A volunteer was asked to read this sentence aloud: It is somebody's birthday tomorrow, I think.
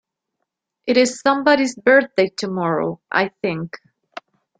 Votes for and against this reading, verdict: 2, 0, accepted